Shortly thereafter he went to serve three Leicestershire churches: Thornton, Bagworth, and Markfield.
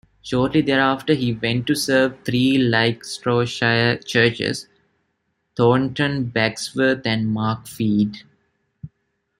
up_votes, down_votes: 0, 2